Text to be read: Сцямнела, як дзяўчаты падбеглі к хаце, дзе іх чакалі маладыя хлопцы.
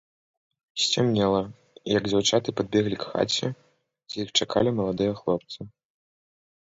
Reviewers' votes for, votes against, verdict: 3, 0, accepted